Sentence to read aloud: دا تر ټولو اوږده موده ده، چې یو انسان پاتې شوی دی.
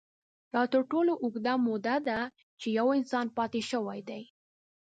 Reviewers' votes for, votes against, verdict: 0, 2, rejected